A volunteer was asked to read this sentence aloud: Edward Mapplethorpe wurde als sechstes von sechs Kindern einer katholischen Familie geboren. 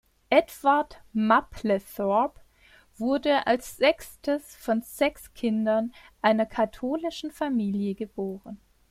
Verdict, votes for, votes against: rejected, 0, 2